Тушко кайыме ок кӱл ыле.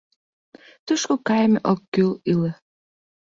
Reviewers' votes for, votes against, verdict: 0, 2, rejected